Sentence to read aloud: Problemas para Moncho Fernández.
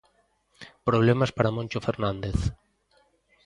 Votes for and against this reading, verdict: 2, 0, accepted